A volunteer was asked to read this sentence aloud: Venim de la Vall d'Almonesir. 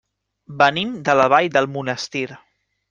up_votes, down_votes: 0, 2